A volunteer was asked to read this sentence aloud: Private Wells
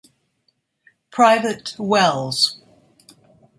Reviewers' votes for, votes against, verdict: 2, 0, accepted